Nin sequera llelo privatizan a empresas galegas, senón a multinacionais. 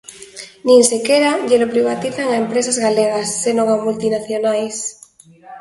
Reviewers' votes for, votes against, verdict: 1, 2, rejected